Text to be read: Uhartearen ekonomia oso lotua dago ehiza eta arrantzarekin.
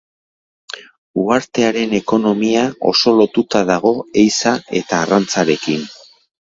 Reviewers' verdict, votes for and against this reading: rejected, 0, 2